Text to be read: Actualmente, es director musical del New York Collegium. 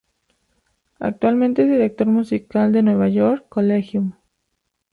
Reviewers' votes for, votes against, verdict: 0, 2, rejected